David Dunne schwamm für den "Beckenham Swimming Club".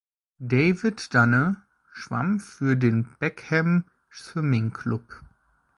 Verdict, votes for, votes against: rejected, 1, 2